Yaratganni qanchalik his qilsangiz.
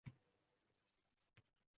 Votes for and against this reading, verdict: 0, 2, rejected